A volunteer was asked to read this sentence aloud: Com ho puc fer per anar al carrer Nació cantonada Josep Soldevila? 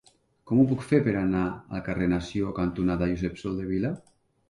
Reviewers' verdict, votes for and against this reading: accepted, 2, 0